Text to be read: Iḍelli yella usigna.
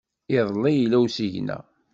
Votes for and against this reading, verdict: 2, 0, accepted